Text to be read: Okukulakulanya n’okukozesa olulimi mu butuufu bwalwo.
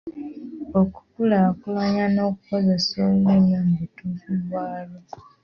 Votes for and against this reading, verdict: 2, 1, accepted